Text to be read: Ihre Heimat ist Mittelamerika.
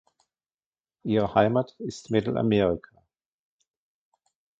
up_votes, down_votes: 0, 2